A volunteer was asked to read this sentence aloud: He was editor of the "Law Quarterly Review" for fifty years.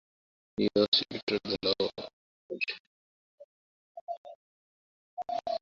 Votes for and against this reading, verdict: 0, 2, rejected